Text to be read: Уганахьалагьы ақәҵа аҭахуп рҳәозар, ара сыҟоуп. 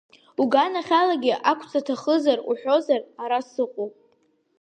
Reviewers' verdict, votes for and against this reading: accepted, 2, 1